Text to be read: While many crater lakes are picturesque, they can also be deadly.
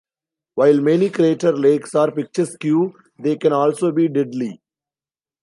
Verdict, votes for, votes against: rejected, 1, 2